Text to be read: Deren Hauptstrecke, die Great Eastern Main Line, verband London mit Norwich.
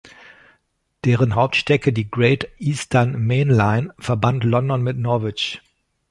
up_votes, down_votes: 2, 0